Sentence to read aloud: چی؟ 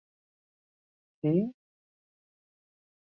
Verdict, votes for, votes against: rejected, 1, 2